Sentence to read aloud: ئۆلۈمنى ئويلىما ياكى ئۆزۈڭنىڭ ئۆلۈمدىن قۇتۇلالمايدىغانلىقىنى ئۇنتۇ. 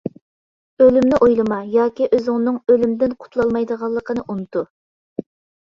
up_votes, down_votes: 2, 0